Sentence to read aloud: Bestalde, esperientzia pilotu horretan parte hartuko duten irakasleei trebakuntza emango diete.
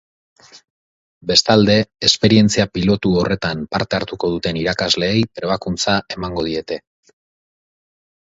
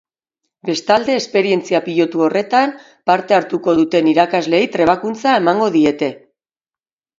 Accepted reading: second